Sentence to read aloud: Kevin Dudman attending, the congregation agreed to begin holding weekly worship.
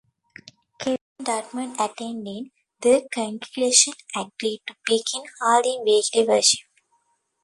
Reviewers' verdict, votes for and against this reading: rejected, 0, 2